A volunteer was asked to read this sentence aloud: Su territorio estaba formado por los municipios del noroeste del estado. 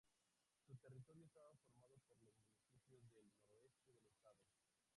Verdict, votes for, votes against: rejected, 0, 2